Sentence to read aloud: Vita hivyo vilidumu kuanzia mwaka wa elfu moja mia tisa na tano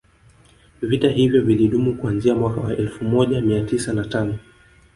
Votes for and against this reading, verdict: 2, 0, accepted